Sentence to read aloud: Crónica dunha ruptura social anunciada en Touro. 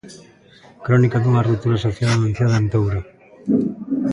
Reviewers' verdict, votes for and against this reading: accepted, 2, 0